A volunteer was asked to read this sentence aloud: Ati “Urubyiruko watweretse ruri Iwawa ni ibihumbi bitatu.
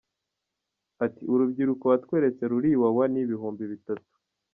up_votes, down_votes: 1, 2